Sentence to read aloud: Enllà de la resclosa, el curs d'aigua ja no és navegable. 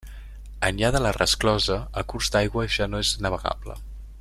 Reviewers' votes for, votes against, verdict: 2, 1, accepted